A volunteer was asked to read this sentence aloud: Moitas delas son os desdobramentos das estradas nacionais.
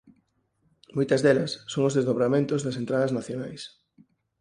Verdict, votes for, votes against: rejected, 2, 4